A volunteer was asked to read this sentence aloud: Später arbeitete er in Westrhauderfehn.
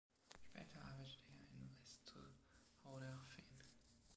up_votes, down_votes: 0, 2